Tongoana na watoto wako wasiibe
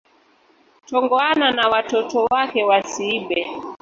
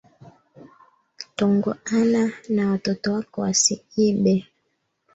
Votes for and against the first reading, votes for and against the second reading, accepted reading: 0, 2, 2, 0, second